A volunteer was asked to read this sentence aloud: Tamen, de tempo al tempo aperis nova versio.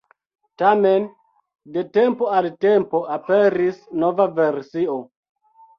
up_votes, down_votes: 2, 0